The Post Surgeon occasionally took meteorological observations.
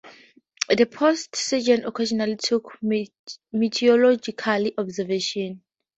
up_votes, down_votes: 2, 0